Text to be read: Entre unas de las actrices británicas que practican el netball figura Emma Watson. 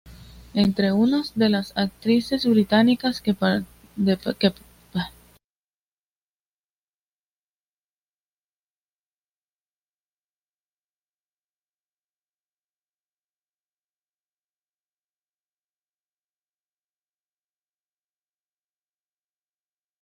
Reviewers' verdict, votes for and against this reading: rejected, 1, 2